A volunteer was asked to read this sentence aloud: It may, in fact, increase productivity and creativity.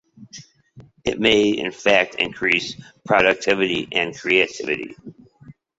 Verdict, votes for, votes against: accepted, 2, 0